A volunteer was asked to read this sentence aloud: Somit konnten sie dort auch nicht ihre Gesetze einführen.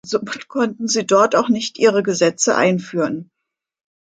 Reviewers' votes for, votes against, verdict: 1, 2, rejected